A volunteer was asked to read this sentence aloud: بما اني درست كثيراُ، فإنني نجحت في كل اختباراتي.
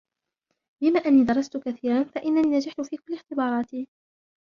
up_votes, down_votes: 1, 2